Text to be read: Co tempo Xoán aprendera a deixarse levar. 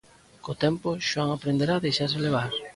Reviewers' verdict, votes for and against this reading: rejected, 1, 2